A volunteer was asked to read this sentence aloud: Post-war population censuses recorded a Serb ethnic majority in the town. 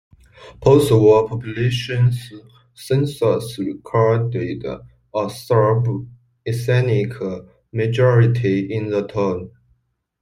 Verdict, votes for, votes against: accepted, 2, 0